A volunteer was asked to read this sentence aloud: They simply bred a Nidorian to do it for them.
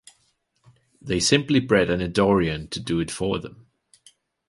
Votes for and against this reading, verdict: 2, 0, accepted